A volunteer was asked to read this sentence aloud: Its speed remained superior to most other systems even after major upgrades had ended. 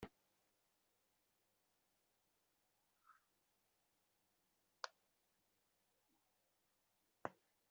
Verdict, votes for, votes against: rejected, 0, 2